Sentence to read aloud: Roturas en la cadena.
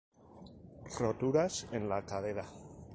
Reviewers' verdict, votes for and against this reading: rejected, 2, 2